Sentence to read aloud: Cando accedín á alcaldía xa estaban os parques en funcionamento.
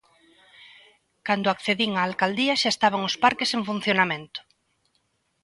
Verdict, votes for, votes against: accepted, 2, 0